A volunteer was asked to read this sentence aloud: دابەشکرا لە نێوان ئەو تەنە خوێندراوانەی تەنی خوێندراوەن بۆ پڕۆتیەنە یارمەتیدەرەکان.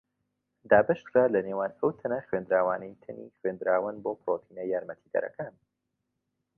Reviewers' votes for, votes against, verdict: 2, 1, accepted